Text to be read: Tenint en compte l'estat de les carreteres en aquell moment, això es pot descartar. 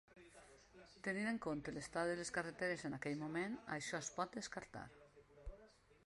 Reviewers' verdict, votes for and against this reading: rejected, 1, 2